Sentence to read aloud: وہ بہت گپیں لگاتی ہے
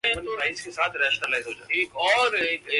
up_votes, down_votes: 0, 5